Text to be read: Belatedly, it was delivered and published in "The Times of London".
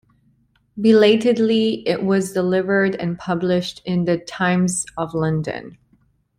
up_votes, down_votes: 2, 0